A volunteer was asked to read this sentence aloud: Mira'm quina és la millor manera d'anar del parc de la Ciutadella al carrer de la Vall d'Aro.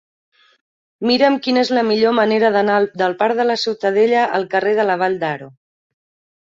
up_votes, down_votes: 3, 0